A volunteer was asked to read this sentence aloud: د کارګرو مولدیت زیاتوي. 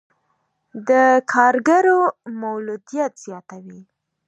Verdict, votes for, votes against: accepted, 2, 1